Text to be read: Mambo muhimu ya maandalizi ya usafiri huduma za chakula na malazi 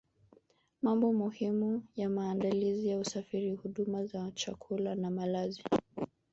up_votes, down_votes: 1, 2